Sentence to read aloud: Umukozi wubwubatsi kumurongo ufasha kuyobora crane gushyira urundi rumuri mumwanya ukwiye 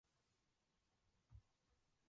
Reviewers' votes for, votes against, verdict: 0, 2, rejected